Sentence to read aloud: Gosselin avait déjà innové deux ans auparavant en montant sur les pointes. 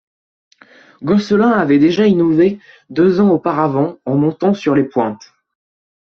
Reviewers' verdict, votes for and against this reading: accepted, 2, 0